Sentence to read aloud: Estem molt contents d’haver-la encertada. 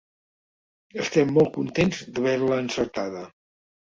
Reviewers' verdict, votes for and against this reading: accepted, 3, 1